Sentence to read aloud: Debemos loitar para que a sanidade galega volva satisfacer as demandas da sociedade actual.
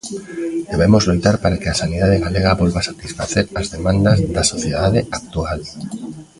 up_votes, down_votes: 1, 2